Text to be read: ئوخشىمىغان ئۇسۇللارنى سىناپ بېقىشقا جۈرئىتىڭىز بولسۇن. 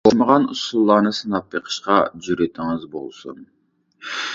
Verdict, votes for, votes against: rejected, 0, 2